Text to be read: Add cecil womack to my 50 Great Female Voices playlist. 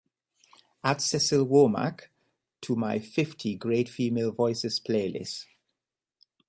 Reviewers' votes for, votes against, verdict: 0, 2, rejected